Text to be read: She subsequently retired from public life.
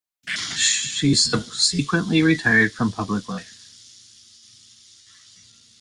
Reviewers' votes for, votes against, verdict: 1, 2, rejected